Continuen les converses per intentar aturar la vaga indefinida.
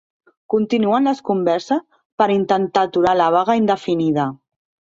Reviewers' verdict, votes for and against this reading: rejected, 1, 2